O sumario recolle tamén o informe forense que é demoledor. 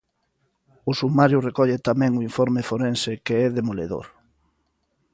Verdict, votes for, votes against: accepted, 2, 0